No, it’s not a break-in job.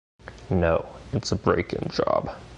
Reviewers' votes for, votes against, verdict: 1, 2, rejected